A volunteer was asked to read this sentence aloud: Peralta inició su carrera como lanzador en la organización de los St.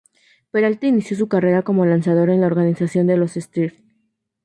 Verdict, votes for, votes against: rejected, 2, 2